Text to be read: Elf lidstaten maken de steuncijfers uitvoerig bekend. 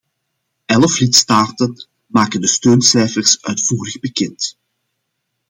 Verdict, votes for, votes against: accepted, 2, 0